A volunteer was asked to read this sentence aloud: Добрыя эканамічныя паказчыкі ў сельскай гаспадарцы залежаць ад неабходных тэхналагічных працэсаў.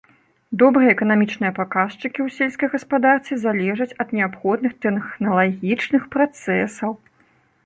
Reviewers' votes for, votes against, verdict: 1, 2, rejected